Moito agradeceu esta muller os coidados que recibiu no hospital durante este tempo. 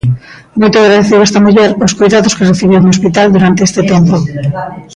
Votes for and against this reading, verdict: 1, 2, rejected